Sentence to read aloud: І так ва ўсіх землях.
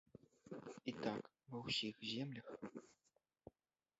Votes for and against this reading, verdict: 1, 2, rejected